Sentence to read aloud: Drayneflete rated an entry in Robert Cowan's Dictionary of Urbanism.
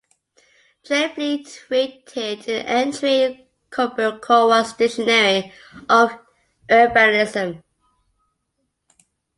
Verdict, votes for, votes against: accepted, 2, 0